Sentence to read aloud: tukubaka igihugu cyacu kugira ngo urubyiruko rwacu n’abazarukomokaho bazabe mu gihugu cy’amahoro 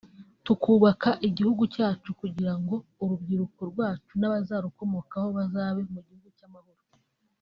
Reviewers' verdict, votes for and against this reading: accepted, 4, 0